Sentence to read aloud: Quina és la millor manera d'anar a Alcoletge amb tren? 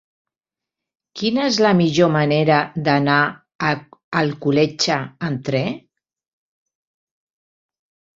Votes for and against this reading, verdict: 1, 2, rejected